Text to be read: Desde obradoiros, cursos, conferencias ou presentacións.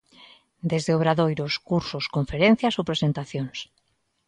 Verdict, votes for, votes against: accepted, 2, 0